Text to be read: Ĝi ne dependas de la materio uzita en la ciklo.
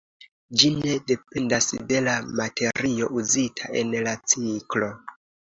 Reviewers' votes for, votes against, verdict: 2, 0, accepted